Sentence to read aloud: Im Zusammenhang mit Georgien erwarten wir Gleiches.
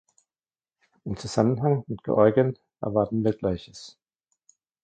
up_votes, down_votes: 2, 0